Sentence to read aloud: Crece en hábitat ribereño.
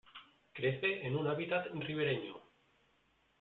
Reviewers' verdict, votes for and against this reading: rejected, 1, 2